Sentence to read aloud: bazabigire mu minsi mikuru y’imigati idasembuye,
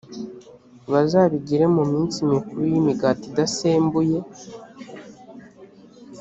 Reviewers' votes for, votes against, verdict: 2, 0, accepted